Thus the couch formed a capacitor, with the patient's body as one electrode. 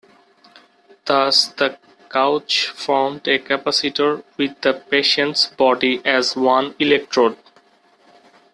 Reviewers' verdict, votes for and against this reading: rejected, 0, 2